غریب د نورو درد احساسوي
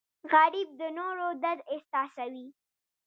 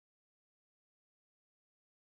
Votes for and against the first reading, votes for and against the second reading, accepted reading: 2, 0, 1, 2, first